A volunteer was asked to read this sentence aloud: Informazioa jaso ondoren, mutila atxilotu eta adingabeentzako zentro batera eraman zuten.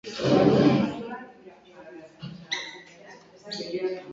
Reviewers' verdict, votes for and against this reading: rejected, 0, 2